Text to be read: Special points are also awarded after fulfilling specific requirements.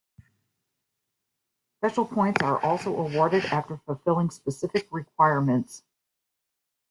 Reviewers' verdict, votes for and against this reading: accepted, 2, 0